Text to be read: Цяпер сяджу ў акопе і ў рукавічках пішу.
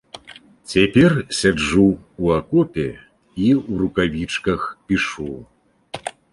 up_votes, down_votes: 2, 0